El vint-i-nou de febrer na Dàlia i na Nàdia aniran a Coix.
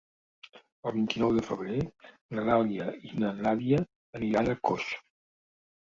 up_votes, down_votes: 0, 2